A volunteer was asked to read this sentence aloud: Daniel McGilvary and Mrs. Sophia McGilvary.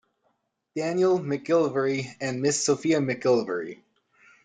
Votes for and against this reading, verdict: 1, 2, rejected